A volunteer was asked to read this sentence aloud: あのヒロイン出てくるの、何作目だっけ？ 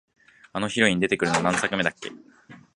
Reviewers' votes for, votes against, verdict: 1, 2, rejected